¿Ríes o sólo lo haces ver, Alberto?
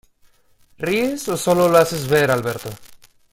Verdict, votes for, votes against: accepted, 2, 0